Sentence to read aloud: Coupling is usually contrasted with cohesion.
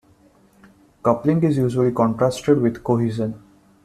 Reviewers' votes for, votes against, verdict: 2, 0, accepted